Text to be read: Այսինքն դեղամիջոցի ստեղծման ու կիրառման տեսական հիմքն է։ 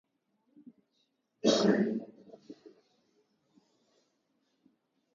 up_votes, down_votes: 0, 2